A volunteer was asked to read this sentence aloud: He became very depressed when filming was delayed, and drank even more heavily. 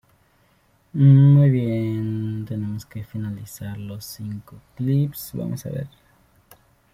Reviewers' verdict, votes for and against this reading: rejected, 1, 2